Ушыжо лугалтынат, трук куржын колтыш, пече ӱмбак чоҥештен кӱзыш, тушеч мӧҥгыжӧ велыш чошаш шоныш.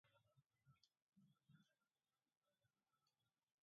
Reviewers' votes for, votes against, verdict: 0, 3, rejected